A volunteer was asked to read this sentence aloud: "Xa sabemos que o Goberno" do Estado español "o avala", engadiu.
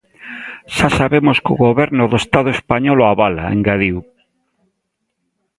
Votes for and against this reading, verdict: 1, 2, rejected